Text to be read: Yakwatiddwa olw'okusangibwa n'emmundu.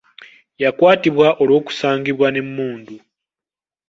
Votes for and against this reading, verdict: 0, 2, rejected